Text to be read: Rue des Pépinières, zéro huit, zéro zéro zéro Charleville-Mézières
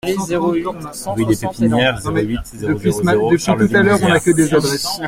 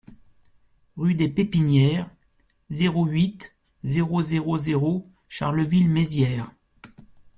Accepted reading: second